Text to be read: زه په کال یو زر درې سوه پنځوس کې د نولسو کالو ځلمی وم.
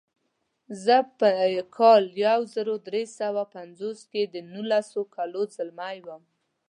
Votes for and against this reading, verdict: 2, 0, accepted